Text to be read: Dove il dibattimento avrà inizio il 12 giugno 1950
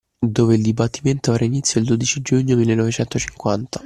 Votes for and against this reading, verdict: 0, 2, rejected